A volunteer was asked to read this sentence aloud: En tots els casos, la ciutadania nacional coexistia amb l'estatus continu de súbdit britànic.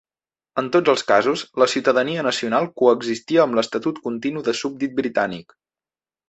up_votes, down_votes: 0, 2